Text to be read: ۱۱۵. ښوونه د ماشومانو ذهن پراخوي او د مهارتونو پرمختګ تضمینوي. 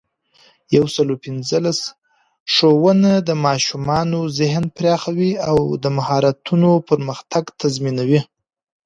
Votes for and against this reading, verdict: 0, 2, rejected